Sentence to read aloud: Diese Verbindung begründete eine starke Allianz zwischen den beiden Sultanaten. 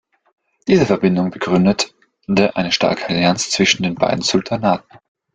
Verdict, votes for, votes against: rejected, 0, 2